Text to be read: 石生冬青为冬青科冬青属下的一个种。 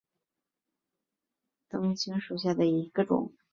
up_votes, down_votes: 0, 2